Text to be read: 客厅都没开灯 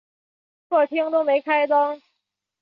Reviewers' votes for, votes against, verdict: 3, 0, accepted